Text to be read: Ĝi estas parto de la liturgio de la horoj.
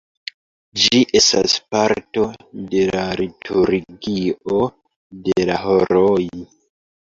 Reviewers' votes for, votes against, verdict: 0, 2, rejected